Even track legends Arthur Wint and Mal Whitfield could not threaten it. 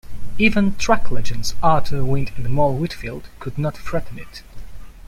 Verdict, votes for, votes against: accepted, 2, 0